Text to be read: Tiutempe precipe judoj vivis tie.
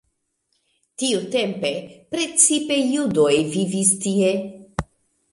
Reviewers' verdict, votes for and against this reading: rejected, 0, 2